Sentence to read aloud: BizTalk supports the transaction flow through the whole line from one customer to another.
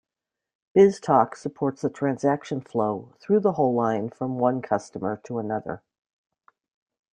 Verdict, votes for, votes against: accepted, 2, 0